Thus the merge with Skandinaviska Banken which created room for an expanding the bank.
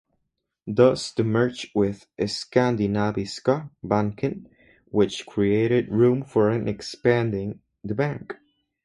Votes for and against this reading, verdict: 0, 2, rejected